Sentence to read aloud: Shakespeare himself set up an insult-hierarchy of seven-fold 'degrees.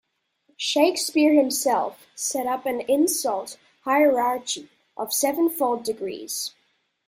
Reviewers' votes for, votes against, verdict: 1, 2, rejected